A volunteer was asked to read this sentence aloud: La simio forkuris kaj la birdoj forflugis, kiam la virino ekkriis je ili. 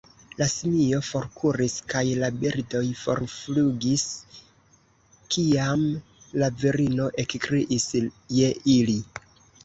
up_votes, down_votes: 0, 3